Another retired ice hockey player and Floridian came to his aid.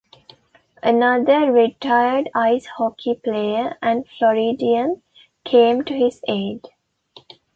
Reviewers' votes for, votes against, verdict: 2, 0, accepted